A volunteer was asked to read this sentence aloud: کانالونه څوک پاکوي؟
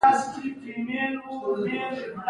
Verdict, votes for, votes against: rejected, 1, 2